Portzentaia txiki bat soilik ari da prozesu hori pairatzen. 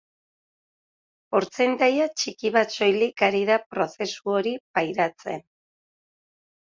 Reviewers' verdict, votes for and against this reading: accepted, 2, 0